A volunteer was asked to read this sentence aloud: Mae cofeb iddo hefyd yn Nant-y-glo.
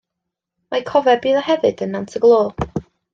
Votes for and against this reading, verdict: 2, 0, accepted